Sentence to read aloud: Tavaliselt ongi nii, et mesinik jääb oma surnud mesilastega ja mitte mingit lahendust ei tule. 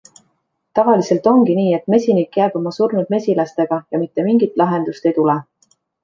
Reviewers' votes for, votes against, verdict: 2, 0, accepted